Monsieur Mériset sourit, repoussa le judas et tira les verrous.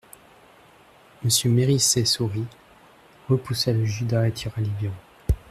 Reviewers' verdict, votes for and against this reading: rejected, 1, 2